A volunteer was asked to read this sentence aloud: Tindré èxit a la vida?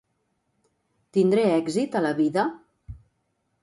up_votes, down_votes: 3, 0